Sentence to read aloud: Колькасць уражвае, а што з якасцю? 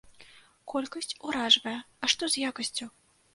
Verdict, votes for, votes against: accepted, 2, 0